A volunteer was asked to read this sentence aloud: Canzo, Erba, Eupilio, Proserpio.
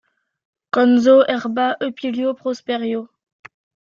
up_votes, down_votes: 0, 2